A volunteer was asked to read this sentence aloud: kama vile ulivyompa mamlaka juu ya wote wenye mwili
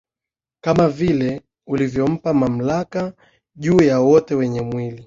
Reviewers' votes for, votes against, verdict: 0, 2, rejected